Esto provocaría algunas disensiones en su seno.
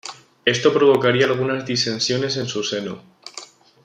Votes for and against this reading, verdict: 2, 0, accepted